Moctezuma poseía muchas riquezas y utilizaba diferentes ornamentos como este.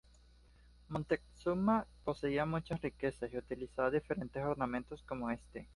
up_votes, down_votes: 1, 2